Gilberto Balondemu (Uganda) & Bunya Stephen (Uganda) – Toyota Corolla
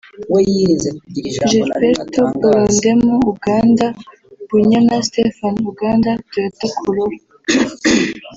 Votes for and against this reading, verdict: 0, 2, rejected